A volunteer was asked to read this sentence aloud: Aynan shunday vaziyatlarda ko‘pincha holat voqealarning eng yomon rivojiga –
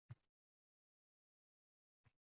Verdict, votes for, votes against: rejected, 0, 2